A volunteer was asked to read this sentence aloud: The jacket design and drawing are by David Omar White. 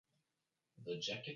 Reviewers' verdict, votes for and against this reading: rejected, 0, 2